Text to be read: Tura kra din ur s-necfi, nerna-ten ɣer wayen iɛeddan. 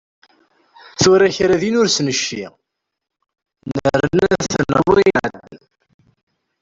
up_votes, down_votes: 0, 2